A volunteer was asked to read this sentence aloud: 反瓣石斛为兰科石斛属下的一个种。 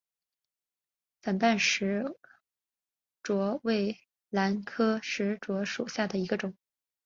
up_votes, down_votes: 0, 3